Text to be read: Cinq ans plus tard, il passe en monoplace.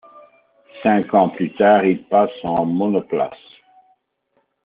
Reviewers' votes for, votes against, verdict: 2, 0, accepted